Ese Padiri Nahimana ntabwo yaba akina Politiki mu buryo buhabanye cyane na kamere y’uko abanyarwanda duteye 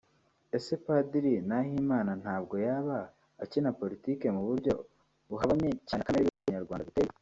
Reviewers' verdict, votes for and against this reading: accepted, 2, 0